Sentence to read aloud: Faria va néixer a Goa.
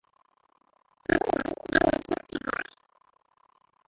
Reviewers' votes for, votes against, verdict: 0, 2, rejected